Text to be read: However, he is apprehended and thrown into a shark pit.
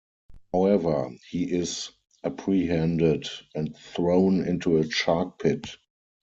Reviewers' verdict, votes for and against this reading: rejected, 2, 4